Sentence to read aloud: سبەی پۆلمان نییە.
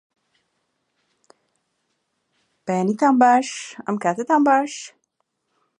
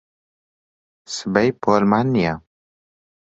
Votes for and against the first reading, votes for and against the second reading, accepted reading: 0, 2, 2, 0, second